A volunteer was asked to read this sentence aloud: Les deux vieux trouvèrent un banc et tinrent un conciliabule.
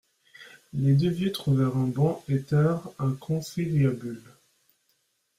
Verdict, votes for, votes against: accepted, 2, 0